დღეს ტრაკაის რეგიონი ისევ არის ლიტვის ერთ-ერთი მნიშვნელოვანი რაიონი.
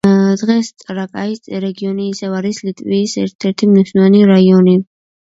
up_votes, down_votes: 1, 2